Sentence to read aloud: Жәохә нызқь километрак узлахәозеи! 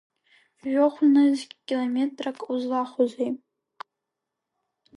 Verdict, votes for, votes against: accepted, 2, 0